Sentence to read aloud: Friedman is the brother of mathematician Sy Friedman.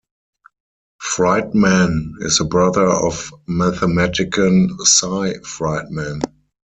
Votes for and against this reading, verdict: 0, 4, rejected